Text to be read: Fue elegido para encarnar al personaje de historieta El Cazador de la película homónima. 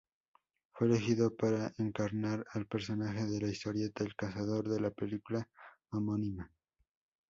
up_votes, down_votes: 0, 4